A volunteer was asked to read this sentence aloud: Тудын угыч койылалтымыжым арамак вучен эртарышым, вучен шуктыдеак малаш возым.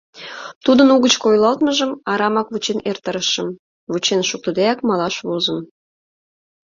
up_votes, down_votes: 0, 2